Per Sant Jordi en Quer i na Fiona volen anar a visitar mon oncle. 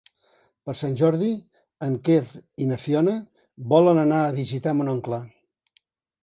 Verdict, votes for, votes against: accepted, 4, 1